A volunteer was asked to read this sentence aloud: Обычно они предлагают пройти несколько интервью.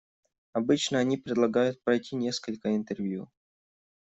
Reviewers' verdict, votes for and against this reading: accepted, 2, 0